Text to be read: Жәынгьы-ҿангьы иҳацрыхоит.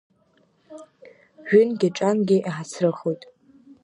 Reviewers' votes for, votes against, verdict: 1, 2, rejected